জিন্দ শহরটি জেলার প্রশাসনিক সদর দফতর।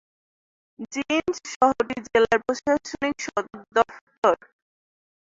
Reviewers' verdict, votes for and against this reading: rejected, 1, 2